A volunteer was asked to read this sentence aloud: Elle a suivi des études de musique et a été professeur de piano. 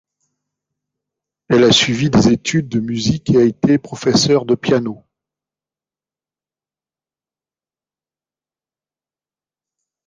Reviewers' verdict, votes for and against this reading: accepted, 2, 0